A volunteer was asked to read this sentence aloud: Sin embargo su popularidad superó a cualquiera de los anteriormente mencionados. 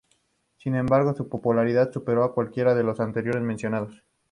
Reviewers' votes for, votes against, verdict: 2, 0, accepted